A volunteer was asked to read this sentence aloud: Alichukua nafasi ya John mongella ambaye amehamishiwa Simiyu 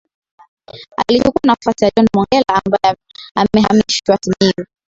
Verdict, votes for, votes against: accepted, 2, 1